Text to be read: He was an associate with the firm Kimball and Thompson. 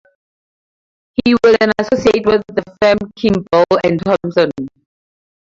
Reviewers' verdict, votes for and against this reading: rejected, 2, 2